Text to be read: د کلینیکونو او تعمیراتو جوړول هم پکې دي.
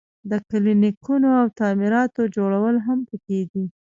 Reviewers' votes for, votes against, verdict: 0, 2, rejected